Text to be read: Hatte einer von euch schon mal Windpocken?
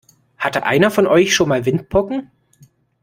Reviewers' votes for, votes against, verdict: 2, 0, accepted